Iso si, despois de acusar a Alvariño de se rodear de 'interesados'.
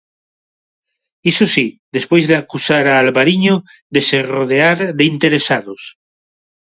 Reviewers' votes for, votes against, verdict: 2, 0, accepted